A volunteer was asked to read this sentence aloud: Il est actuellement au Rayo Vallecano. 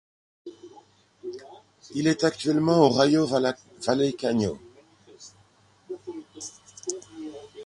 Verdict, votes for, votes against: rejected, 1, 2